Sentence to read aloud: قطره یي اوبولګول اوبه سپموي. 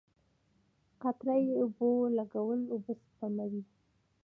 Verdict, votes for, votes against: accepted, 2, 0